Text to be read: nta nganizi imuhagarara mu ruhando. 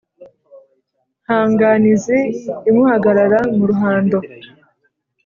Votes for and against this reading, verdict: 2, 0, accepted